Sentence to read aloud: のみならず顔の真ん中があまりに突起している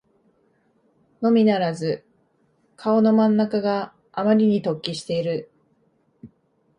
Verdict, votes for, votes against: accepted, 2, 0